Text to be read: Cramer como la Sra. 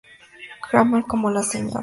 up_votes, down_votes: 0, 2